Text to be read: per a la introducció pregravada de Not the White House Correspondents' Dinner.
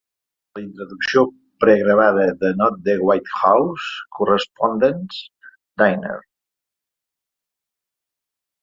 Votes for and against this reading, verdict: 0, 2, rejected